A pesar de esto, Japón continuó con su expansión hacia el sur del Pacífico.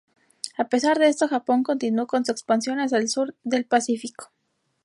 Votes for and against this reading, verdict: 2, 0, accepted